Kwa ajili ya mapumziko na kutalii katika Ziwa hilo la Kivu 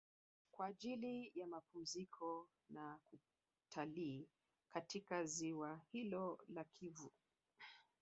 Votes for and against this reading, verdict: 0, 2, rejected